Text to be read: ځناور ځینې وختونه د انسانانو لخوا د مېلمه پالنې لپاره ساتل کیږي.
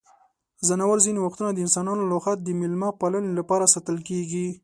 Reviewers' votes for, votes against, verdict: 2, 0, accepted